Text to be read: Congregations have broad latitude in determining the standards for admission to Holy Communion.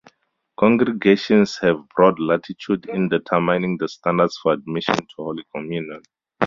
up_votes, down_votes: 0, 2